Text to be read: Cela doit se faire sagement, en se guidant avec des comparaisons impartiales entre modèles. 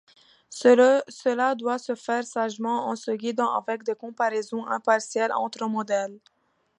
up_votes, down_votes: 1, 2